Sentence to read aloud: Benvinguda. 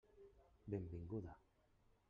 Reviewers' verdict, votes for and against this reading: rejected, 1, 2